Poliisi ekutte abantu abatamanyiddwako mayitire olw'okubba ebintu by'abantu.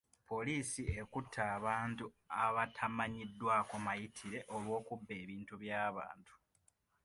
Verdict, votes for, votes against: accepted, 2, 0